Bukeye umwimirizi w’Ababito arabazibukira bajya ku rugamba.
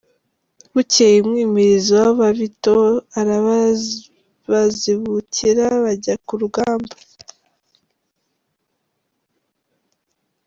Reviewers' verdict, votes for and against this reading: rejected, 1, 2